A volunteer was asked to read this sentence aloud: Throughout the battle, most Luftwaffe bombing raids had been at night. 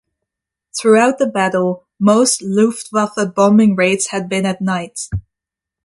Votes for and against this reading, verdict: 2, 0, accepted